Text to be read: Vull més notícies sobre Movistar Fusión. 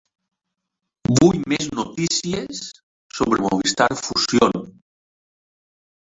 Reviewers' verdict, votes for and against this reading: rejected, 1, 3